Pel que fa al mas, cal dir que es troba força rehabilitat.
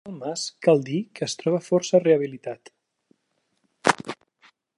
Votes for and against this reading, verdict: 0, 2, rejected